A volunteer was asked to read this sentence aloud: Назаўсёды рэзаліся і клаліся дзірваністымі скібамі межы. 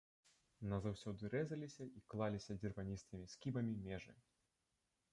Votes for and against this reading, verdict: 2, 1, accepted